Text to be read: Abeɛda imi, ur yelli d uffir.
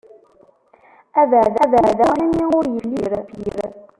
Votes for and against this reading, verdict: 0, 2, rejected